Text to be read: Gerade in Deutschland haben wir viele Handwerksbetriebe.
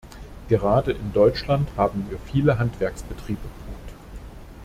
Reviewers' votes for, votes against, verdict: 1, 2, rejected